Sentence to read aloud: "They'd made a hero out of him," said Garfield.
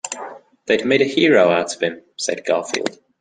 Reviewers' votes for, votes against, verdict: 2, 0, accepted